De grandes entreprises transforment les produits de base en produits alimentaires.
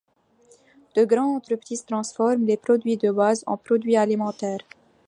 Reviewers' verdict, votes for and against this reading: accepted, 2, 0